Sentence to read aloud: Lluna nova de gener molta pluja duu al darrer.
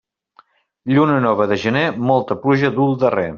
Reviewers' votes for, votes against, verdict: 2, 0, accepted